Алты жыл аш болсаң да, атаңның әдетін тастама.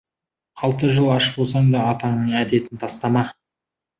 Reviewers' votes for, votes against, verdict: 2, 0, accepted